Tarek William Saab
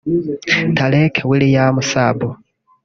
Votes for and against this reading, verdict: 2, 1, accepted